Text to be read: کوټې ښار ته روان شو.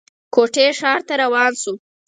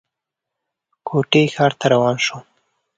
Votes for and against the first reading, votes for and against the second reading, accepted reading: 0, 4, 2, 0, second